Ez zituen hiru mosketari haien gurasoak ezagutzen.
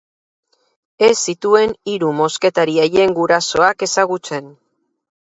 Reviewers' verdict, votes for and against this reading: accepted, 2, 0